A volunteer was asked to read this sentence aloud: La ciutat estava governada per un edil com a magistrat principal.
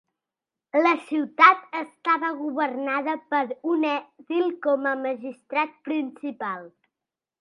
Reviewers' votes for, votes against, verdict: 2, 0, accepted